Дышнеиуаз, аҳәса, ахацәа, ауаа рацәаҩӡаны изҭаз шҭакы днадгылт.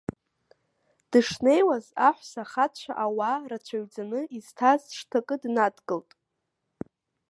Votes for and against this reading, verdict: 2, 0, accepted